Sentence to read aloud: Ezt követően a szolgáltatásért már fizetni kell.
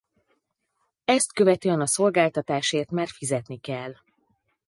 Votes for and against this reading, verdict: 6, 0, accepted